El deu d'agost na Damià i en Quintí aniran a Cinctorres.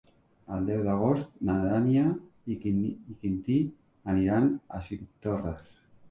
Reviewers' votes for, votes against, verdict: 0, 3, rejected